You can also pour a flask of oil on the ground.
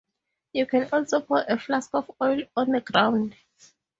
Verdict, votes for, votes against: rejected, 0, 2